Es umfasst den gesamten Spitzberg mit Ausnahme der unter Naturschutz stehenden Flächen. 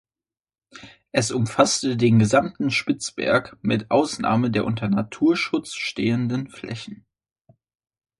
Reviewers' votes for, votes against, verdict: 1, 2, rejected